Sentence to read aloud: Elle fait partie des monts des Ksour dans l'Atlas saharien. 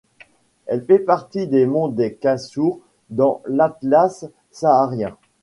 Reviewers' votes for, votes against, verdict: 0, 2, rejected